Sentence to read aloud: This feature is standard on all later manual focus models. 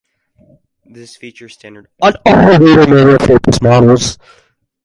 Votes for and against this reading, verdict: 2, 4, rejected